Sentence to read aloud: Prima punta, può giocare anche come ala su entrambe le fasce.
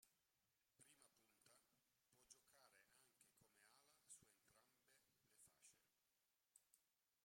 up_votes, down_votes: 0, 2